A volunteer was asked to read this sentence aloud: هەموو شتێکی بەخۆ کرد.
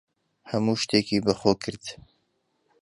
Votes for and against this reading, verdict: 2, 0, accepted